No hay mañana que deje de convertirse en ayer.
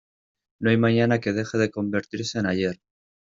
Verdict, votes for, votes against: accepted, 2, 0